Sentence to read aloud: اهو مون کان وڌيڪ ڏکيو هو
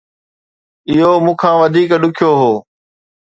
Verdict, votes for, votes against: accepted, 2, 0